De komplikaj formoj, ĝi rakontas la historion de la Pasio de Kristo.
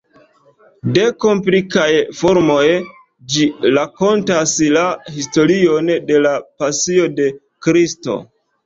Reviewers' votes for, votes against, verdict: 0, 2, rejected